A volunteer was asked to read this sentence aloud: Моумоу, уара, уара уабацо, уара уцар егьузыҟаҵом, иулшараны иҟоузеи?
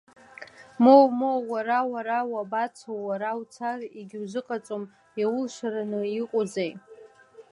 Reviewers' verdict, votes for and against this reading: accepted, 2, 1